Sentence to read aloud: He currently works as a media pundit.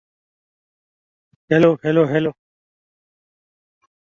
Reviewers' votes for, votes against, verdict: 0, 2, rejected